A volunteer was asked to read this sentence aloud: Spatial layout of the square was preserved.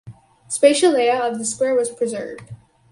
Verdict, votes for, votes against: accepted, 4, 0